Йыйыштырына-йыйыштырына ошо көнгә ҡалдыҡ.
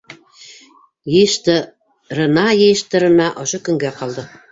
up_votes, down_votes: 1, 2